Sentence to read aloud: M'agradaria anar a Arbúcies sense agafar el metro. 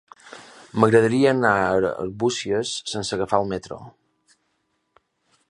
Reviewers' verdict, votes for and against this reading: accepted, 3, 0